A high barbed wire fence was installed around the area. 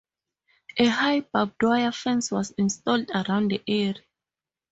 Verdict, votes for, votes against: rejected, 0, 4